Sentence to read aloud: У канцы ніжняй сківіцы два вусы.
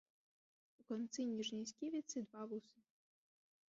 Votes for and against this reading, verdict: 1, 2, rejected